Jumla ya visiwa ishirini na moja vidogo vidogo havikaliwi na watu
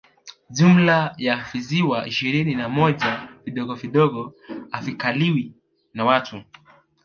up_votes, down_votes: 1, 2